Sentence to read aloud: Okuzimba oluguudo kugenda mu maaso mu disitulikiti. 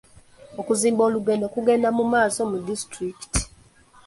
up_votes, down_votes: 0, 3